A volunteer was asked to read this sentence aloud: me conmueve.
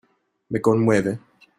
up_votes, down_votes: 2, 0